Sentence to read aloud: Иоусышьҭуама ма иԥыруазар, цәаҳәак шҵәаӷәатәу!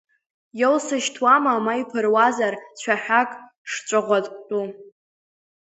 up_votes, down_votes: 1, 2